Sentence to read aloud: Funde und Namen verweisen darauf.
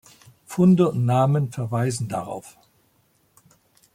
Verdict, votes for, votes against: accepted, 2, 0